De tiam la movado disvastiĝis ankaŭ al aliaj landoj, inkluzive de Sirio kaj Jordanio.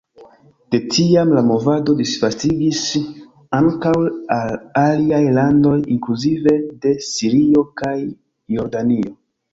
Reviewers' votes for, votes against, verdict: 0, 2, rejected